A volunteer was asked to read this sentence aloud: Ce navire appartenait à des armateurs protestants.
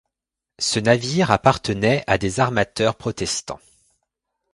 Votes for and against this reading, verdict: 2, 0, accepted